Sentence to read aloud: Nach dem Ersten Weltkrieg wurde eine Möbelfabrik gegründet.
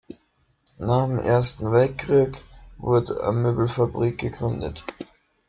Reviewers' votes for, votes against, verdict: 1, 3, rejected